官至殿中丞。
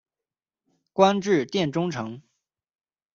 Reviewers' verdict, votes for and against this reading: accepted, 2, 0